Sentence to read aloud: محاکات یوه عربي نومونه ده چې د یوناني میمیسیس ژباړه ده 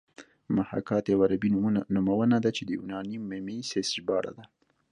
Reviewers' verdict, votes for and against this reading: accepted, 2, 0